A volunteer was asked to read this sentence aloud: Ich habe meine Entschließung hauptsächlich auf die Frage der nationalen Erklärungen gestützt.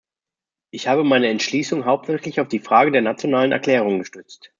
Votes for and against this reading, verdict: 2, 0, accepted